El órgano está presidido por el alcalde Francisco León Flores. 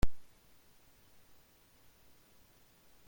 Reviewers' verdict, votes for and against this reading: rejected, 0, 2